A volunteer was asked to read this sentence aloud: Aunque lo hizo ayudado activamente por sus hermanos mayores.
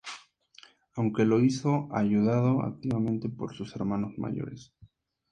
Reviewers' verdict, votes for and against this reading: accepted, 4, 0